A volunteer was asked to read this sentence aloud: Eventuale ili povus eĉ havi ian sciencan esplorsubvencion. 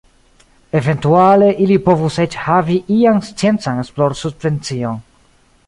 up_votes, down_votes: 2, 0